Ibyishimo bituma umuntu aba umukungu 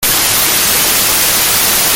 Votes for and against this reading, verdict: 0, 3, rejected